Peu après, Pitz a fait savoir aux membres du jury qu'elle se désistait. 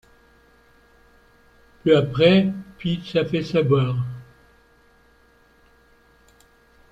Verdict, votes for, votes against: rejected, 0, 2